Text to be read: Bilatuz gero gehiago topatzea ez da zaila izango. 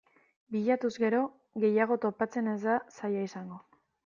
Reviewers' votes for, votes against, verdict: 0, 2, rejected